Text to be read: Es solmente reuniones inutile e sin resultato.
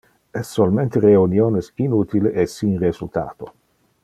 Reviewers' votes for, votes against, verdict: 2, 0, accepted